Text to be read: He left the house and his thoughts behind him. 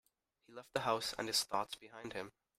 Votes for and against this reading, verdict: 0, 2, rejected